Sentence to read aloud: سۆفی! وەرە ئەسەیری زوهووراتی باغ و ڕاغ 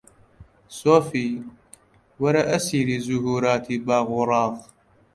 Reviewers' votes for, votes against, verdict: 2, 0, accepted